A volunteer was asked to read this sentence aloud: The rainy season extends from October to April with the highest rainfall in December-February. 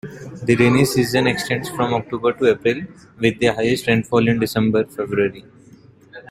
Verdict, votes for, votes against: rejected, 0, 2